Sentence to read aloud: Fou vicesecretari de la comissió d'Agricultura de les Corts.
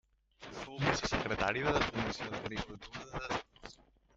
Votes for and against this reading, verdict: 0, 2, rejected